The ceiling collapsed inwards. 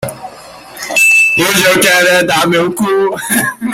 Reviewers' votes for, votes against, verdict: 0, 2, rejected